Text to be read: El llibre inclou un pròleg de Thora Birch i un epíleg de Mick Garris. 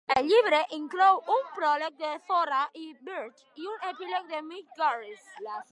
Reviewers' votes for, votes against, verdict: 1, 2, rejected